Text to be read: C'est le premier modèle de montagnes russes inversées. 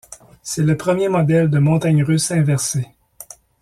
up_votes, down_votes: 2, 0